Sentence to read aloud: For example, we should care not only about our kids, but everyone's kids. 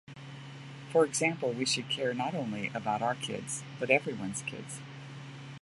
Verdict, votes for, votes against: accepted, 2, 0